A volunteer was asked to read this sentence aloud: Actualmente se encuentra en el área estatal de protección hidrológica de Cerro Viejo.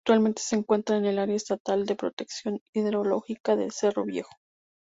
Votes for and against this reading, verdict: 0, 2, rejected